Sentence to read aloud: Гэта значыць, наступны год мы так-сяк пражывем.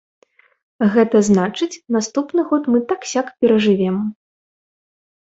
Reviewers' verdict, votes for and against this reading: rejected, 0, 2